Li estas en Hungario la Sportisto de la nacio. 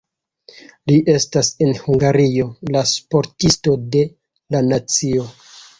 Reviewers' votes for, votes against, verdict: 2, 1, accepted